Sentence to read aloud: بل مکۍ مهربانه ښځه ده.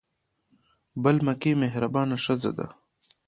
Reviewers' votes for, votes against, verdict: 3, 0, accepted